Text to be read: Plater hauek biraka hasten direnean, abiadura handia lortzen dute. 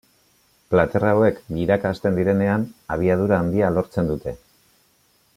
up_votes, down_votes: 2, 0